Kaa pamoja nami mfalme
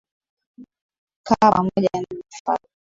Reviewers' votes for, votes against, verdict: 1, 2, rejected